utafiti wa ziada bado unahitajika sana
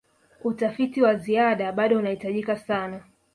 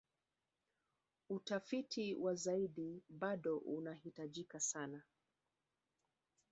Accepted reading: first